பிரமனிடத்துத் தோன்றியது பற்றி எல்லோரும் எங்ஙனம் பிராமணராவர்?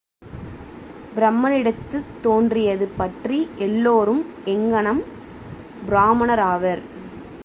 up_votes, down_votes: 2, 0